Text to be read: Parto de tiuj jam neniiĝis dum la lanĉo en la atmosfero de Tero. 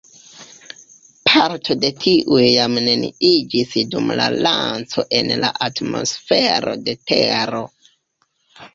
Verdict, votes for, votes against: rejected, 0, 2